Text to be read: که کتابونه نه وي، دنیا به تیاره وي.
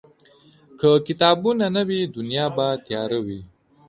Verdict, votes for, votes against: accepted, 3, 0